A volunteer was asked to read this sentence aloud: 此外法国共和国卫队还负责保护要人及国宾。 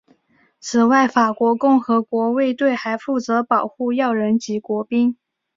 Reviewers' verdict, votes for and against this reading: accepted, 3, 0